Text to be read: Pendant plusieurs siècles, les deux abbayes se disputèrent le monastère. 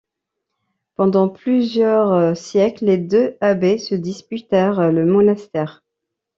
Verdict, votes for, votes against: rejected, 0, 2